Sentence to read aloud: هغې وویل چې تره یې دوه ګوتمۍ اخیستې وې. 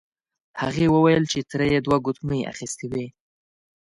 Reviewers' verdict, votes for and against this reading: accepted, 2, 0